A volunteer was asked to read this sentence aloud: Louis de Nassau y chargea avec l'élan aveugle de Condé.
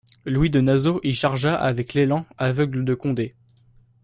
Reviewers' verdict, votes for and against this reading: rejected, 0, 2